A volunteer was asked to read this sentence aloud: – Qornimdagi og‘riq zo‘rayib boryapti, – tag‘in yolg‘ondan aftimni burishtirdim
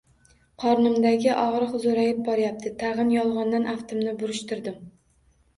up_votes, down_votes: 1, 2